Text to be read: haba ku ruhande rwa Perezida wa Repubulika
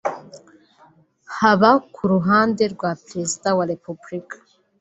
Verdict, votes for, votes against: accepted, 2, 1